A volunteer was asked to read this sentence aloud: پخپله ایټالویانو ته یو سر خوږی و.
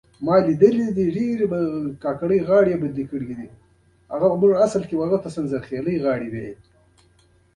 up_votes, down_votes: 1, 2